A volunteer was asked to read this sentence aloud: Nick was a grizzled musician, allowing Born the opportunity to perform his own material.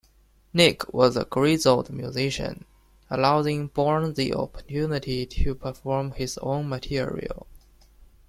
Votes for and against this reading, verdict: 0, 2, rejected